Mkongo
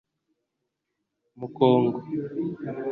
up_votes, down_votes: 2, 0